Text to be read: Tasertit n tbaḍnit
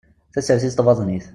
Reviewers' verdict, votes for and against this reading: rejected, 1, 2